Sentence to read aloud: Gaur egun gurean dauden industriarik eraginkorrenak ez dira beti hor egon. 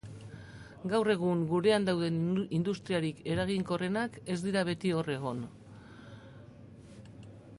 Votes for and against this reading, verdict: 0, 2, rejected